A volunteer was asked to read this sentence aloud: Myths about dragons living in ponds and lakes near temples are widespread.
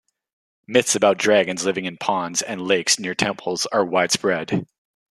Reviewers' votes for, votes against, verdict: 2, 1, accepted